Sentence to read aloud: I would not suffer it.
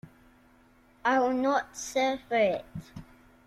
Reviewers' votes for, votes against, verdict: 0, 2, rejected